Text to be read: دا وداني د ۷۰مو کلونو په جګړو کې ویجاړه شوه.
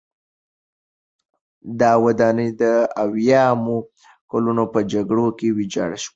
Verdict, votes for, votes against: rejected, 0, 2